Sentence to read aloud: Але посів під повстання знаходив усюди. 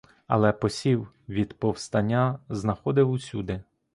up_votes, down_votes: 1, 2